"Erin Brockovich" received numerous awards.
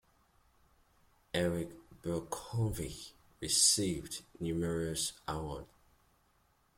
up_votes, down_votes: 1, 2